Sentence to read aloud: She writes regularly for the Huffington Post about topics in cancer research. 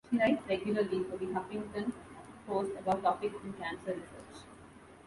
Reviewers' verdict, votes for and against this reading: rejected, 0, 2